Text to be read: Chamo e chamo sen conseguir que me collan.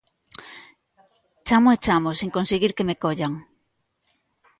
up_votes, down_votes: 1, 2